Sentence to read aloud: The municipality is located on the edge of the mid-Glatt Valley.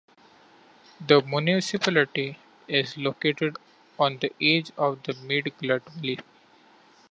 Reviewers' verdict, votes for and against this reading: rejected, 0, 2